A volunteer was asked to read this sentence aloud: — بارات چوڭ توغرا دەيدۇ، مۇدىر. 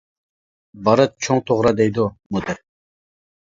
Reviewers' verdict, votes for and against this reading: rejected, 1, 2